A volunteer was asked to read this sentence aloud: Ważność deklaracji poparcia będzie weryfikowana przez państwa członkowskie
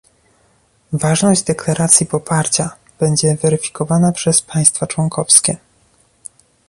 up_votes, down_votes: 2, 0